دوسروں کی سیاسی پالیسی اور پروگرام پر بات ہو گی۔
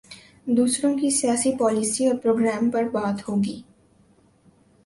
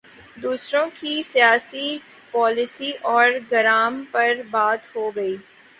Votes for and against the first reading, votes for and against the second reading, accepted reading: 2, 0, 2, 3, first